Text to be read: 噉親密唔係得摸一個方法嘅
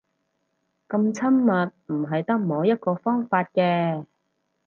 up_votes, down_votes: 0, 4